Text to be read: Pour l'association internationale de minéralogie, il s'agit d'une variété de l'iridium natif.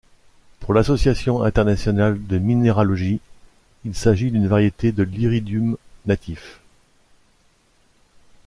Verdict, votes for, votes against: rejected, 1, 2